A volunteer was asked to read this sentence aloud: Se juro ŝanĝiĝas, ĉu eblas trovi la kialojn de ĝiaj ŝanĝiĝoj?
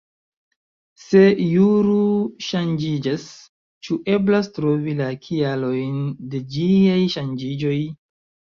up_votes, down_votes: 2, 0